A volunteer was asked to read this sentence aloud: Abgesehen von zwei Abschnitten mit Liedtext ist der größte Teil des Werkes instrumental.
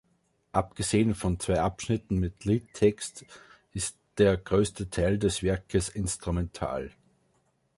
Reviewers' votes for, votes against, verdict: 2, 0, accepted